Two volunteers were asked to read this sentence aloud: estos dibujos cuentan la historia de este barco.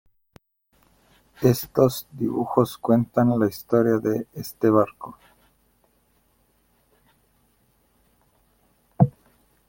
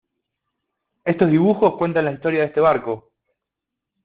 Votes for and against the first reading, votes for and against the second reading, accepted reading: 2, 0, 1, 2, first